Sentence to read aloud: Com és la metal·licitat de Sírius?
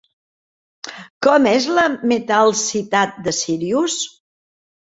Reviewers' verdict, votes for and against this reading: rejected, 0, 2